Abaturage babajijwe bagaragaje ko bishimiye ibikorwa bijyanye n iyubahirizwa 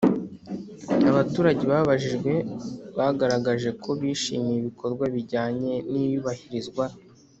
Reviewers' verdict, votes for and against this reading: accepted, 2, 0